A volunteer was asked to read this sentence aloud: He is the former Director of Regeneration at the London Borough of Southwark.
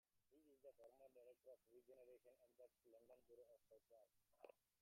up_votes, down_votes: 0, 2